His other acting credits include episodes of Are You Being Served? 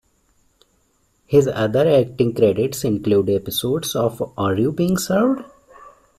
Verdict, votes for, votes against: accepted, 2, 0